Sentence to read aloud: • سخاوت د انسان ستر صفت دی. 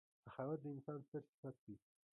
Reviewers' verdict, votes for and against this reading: rejected, 1, 3